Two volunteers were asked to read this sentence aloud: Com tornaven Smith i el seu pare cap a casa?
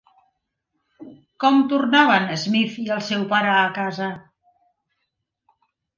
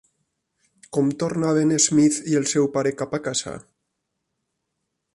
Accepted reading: second